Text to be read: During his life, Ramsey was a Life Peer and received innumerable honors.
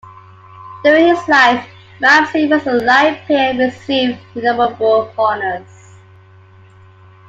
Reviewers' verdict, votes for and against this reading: accepted, 2, 1